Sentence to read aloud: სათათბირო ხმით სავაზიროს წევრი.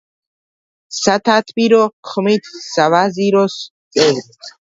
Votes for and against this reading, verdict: 2, 0, accepted